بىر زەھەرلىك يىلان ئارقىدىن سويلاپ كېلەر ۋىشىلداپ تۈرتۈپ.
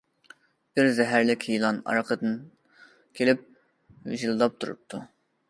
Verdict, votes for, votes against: rejected, 0, 2